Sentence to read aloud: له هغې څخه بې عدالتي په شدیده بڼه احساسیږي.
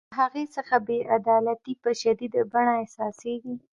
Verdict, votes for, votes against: accepted, 2, 0